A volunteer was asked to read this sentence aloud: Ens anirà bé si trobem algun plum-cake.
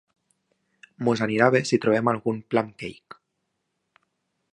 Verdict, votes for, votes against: rejected, 0, 2